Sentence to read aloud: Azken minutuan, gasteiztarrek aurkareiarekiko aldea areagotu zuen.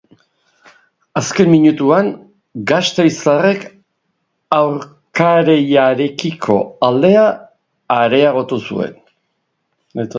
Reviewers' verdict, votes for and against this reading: accepted, 4, 0